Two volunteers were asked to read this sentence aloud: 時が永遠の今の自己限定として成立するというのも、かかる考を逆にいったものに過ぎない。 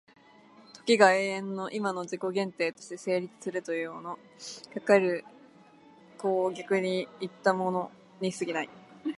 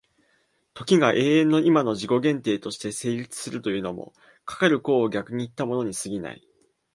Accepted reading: second